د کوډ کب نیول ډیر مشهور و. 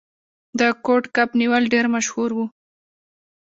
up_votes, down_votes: 2, 0